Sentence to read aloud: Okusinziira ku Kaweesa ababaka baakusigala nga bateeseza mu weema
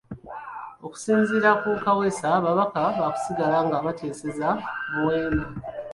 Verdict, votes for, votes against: accepted, 2, 1